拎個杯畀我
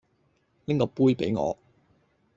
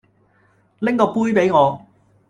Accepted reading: first